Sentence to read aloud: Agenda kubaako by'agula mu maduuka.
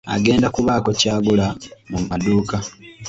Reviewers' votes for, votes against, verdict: 1, 2, rejected